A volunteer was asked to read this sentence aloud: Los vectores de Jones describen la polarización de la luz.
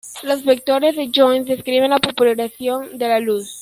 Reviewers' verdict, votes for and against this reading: rejected, 1, 2